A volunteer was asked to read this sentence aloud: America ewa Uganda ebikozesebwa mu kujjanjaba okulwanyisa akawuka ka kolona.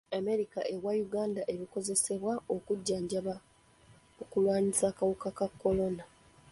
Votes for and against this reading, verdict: 0, 2, rejected